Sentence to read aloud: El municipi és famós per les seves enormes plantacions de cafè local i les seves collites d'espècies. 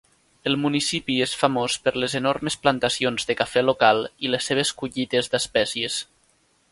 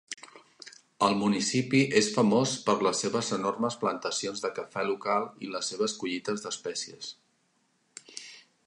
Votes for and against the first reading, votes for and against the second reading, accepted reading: 1, 2, 3, 0, second